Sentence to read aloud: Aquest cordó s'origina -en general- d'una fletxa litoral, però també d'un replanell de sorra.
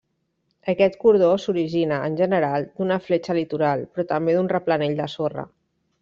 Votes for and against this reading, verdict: 2, 0, accepted